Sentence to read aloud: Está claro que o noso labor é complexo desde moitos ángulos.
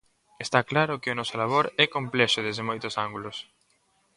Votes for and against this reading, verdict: 1, 2, rejected